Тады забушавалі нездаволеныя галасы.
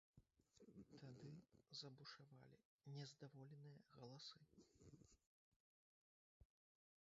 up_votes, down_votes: 0, 2